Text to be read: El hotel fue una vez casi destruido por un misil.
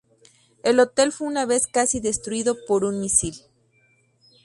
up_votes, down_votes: 2, 0